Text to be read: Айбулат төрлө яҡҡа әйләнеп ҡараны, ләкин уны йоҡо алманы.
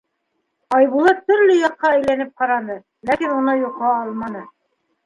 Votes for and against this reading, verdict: 2, 1, accepted